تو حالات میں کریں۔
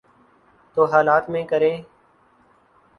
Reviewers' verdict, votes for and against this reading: accepted, 2, 0